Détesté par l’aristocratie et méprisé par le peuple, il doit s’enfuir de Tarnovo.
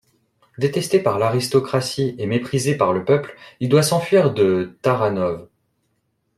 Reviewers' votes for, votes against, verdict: 0, 2, rejected